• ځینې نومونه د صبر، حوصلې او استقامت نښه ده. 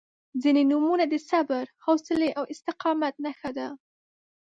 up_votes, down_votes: 2, 0